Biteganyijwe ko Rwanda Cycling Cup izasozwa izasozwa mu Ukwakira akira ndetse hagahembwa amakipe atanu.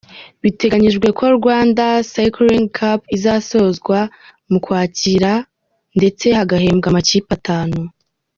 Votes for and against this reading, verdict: 3, 0, accepted